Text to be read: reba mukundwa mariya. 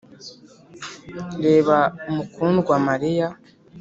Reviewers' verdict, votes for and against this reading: accepted, 2, 0